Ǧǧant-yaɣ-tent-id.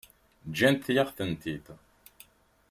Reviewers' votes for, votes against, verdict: 2, 1, accepted